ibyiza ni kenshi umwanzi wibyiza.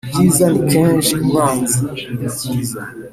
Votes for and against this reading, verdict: 3, 0, accepted